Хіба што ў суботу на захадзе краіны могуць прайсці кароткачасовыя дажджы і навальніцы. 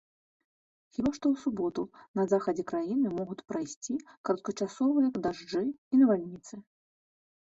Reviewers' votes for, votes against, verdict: 2, 3, rejected